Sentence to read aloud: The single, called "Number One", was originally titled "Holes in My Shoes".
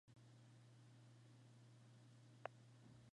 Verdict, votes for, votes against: rejected, 0, 2